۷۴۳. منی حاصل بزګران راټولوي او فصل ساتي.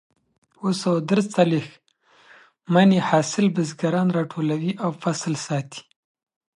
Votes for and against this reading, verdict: 0, 2, rejected